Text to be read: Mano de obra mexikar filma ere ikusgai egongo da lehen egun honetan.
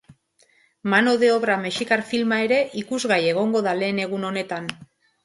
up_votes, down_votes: 2, 0